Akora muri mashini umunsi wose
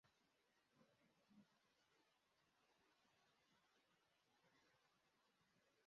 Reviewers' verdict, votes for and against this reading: rejected, 0, 2